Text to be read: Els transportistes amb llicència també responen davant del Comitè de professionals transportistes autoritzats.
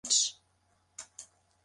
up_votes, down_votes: 0, 2